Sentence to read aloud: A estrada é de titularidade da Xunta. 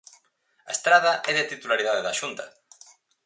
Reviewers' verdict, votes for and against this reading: accepted, 4, 0